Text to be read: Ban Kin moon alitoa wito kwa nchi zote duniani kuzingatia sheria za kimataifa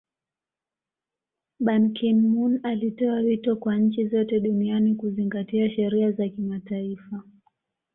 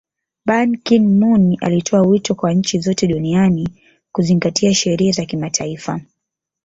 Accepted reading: first